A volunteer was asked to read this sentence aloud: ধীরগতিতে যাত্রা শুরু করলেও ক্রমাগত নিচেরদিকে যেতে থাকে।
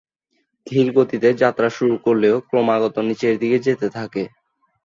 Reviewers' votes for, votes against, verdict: 2, 0, accepted